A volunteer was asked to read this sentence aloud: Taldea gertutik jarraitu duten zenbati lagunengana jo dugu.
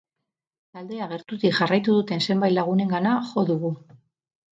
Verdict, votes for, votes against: accepted, 4, 2